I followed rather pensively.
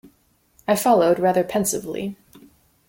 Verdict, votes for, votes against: accepted, 2, 0